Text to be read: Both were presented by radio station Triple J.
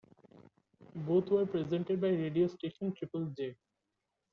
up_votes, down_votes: 1, 2